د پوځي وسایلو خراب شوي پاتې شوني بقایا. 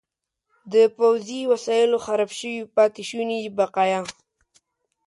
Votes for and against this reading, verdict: 2, 0, accepted